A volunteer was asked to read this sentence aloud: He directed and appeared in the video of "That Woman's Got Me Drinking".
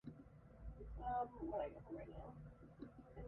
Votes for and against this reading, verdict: 0, 2, rejected